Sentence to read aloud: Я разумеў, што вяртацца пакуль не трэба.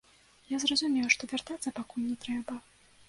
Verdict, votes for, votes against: rejected, 0, 2